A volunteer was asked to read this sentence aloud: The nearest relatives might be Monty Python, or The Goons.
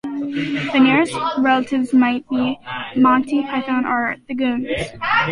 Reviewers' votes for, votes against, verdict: 2, 0, accepted